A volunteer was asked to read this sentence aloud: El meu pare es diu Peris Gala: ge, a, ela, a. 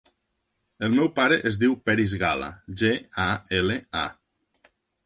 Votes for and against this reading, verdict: 1, 2, rejected